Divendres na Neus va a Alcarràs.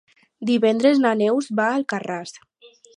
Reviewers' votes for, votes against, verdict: 4, 0, accepted